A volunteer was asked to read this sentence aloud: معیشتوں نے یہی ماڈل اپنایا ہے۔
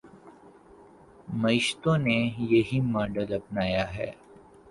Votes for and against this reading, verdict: 1, 2, rejected